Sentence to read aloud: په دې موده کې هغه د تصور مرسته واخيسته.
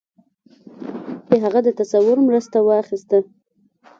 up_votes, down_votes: 0, 2